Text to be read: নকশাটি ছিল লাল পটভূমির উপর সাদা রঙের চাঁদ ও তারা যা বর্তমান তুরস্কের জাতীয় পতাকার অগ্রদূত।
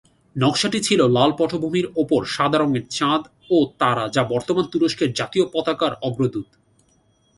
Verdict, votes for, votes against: accepted, 2, 0